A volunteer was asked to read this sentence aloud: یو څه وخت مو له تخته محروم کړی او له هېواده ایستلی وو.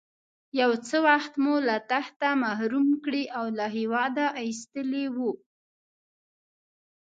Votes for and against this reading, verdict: 1, 2, rejected